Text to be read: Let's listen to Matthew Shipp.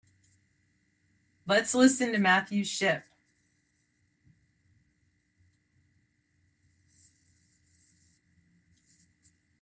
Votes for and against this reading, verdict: 2, 0, accepted